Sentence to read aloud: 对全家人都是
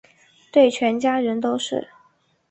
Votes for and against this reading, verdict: 2, 0, accepted